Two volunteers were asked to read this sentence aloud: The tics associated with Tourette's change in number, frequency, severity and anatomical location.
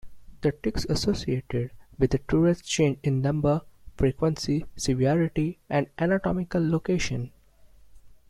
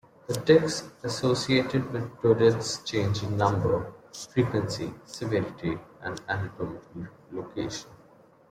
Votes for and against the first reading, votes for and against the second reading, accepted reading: 0, 2, 2, 0, second